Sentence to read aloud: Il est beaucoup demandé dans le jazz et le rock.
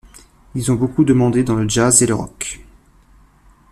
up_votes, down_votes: 1, 2